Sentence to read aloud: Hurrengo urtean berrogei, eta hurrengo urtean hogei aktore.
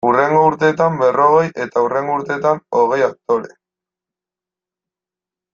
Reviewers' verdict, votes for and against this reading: rejected, 1, 2